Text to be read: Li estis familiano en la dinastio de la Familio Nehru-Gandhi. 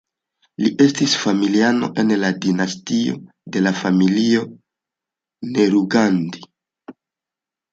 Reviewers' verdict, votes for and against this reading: accepted, 2, 1